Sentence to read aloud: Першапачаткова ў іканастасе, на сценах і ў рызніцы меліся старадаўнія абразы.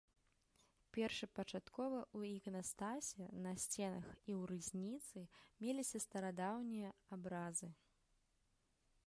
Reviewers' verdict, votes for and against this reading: rejected, 0, 2